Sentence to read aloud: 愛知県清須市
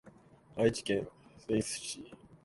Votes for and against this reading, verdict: 0, 2, rejected